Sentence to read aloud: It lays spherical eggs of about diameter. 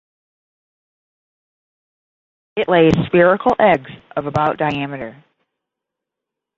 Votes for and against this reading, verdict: 10, 0, accepted